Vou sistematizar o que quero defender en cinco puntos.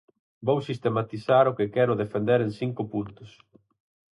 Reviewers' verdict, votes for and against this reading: accepted, 4, 0